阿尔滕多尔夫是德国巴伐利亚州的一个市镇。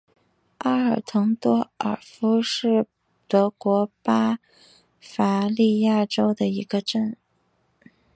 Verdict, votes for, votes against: rejected, 0, 3